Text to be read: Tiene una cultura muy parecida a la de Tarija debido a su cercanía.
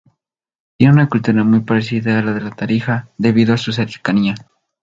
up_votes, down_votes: 2, 0